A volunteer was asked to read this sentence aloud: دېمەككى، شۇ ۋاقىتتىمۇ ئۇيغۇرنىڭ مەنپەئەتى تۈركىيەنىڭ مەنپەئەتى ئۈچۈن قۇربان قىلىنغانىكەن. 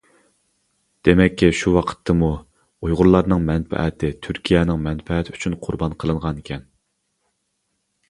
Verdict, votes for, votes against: rejected, 1, 2